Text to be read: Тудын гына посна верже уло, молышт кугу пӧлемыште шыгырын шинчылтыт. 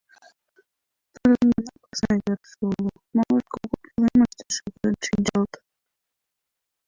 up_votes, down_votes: 0, 2